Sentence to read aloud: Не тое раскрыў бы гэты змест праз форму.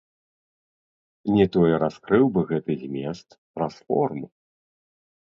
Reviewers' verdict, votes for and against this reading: rejected, 0, 2